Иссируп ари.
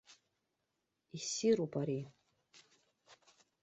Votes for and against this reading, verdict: 2, 0, accepted